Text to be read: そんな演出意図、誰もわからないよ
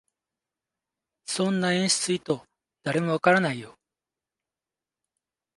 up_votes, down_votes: 2, 0